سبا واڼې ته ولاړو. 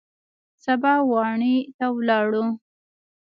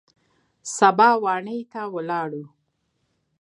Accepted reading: second